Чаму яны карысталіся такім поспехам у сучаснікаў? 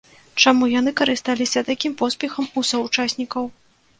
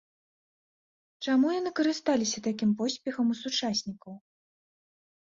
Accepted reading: second